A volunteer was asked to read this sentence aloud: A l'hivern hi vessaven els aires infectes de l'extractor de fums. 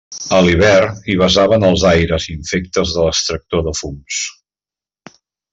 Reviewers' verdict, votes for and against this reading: rejected, 1, 2